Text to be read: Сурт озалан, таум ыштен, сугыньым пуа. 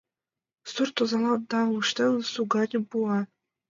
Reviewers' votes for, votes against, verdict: 1, 2, rejected